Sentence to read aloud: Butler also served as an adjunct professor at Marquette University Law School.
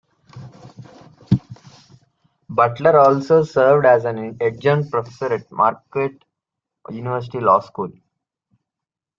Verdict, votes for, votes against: rejected, 1, 2